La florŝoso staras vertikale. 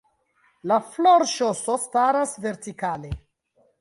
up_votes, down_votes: 2, 0